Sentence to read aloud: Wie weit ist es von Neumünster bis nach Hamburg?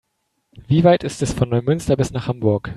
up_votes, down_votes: 3, 0